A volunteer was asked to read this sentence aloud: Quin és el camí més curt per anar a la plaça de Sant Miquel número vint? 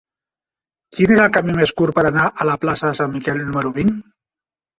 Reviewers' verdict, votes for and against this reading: accepted, 2, 0